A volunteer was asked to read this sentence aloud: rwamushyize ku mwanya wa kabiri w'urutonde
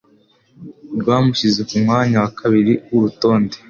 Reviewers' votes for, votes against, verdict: 2, 0, accepted